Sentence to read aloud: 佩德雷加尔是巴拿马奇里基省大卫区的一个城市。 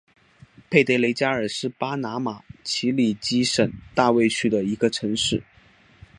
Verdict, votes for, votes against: accepted, 2, 1